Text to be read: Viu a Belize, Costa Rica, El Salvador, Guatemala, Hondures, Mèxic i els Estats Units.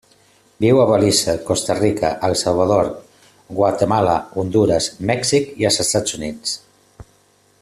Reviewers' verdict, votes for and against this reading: rejected, 0, 2